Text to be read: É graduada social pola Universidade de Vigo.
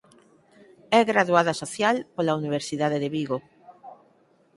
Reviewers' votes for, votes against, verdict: 4, 0, accepted